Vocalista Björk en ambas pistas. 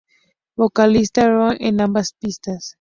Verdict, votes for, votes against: rejected, 0, 2